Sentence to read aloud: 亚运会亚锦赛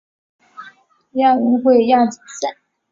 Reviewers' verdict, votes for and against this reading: rejected, 0, 2